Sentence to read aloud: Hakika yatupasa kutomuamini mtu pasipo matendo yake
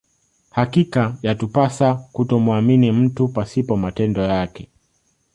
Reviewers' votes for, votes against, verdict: 2, 0, accepted